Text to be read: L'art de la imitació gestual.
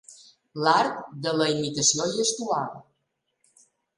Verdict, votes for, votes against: accepted, 2, 0